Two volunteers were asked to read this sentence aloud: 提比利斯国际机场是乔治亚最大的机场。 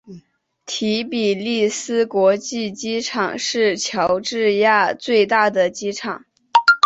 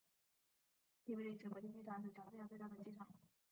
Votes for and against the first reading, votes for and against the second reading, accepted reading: 4, 0, 1, 2, first